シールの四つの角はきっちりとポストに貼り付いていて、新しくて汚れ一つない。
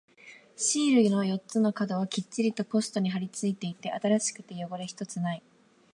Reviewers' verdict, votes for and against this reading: accepted, 3, 0